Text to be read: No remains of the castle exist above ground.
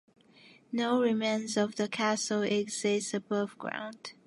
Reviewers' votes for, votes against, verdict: 2, 0, accepted